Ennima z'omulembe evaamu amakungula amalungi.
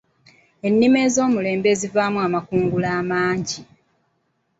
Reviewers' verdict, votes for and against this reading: rejected, 1, 2